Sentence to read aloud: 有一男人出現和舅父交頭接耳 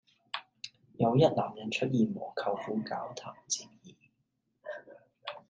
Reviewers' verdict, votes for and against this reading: accepted, 2, 0